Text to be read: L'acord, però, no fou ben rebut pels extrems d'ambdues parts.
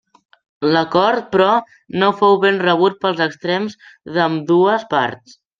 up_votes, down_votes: 2, 0